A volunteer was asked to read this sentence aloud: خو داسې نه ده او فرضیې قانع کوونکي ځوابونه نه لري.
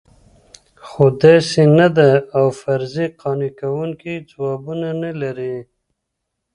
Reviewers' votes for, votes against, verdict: 0, 2, rejected